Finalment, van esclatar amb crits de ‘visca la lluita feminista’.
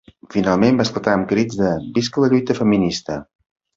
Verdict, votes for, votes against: rejected, 1, 2